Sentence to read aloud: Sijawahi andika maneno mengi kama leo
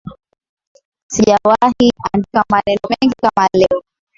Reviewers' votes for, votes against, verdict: 2, 1, accepted